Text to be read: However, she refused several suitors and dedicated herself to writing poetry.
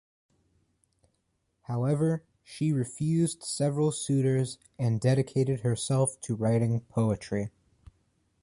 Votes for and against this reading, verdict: 2, 0, accepted